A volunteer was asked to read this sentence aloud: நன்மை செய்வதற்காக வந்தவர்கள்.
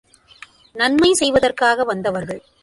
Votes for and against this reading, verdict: 2, 0, accepted